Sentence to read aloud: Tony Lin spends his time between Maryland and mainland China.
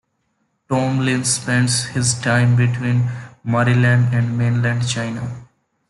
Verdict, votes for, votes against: accepted, 2, 0